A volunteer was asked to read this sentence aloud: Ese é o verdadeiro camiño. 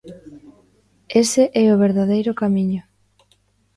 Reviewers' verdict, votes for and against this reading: accepted, 2, 0